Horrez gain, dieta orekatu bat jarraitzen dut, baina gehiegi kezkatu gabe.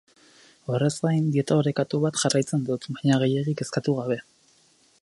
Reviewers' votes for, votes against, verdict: 0, 2, rejected